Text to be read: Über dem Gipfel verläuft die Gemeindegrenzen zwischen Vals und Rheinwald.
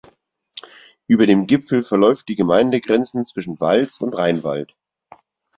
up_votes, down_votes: 4, 0